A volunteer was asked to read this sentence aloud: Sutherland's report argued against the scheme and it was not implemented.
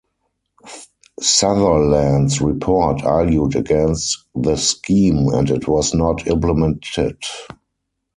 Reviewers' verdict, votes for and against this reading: rejected, 2, 4